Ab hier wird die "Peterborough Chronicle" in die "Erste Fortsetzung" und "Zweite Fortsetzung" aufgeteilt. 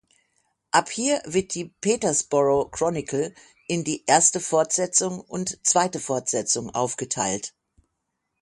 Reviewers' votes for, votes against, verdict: 6, 0, accepted